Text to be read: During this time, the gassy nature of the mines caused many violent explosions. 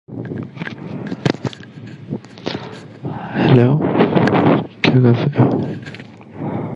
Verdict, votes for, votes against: rejected, 0, 2